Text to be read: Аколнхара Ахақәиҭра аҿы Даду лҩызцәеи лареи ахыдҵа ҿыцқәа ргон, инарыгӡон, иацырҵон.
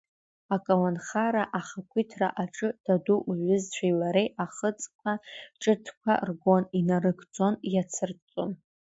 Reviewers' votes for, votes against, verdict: 2, 0, accepted